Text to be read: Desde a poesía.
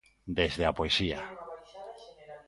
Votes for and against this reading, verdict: 2, 3, rejected